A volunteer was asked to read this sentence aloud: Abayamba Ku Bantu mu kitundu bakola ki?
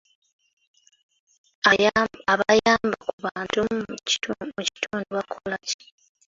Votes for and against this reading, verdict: 0, 2, rejected